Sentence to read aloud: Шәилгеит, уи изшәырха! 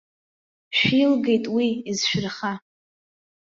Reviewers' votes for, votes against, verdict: 2, 1, accepted